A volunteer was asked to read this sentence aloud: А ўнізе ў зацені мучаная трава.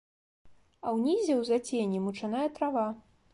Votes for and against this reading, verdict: 2, 1, accepted